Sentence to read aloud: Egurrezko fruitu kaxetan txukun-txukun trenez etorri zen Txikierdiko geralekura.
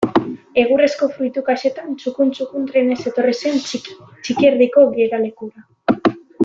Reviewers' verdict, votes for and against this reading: rejected, 1, 2